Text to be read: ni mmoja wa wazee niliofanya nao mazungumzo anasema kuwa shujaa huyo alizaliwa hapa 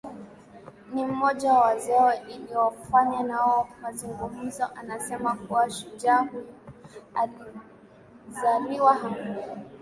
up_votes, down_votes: 1, 2